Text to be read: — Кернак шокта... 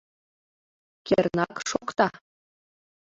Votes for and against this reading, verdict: 1, 2, rejected